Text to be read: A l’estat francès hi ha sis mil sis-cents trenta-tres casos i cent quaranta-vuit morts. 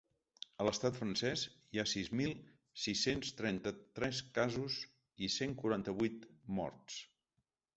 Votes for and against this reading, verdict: 3, 0, accepted